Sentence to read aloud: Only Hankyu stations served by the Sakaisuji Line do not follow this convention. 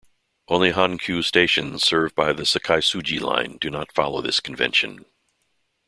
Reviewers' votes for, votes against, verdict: 2, 0, accepted